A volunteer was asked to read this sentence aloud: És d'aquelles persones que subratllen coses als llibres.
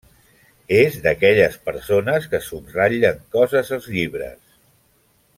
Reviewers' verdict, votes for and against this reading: accepted, 3, 0